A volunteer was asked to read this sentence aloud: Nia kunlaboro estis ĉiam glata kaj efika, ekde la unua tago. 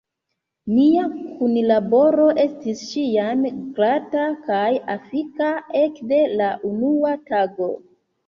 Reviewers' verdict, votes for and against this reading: rejected, 1, 2